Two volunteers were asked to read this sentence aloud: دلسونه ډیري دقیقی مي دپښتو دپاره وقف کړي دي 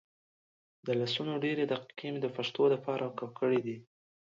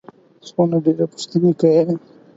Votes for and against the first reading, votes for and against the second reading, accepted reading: 2, 1, 0, 4, first